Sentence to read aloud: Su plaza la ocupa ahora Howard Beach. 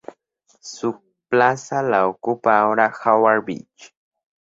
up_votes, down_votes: 4, 0